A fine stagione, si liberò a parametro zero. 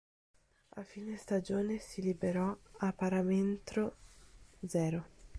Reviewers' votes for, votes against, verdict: 0, 4, rejected